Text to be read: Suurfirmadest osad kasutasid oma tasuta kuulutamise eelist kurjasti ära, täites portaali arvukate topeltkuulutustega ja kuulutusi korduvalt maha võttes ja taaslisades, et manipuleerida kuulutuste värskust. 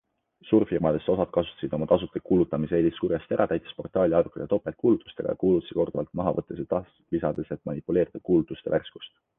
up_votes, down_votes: 2, 0